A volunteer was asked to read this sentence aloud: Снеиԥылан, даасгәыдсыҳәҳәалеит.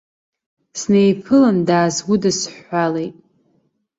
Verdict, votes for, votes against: accepted, 2, 0